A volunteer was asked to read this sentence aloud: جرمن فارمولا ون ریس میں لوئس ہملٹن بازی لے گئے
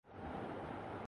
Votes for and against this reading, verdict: 0, 2, rejected